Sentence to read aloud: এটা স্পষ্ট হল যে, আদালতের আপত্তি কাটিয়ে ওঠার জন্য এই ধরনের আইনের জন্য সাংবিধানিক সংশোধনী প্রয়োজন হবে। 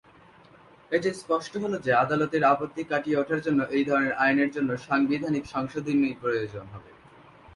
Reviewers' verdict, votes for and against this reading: accepted, 2, 0